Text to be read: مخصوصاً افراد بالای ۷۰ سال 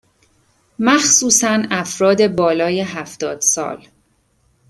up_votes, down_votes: 0, 2